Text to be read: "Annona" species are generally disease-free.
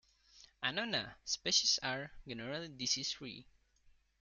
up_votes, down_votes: 1, 2